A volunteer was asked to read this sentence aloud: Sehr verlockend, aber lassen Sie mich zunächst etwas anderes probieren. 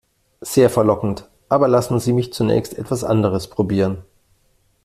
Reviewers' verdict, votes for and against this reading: accepted, 2, 0